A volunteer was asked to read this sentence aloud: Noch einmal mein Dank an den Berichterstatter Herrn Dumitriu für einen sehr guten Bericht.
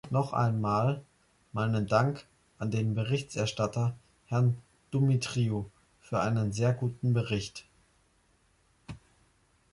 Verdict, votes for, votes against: rejected, 0, 2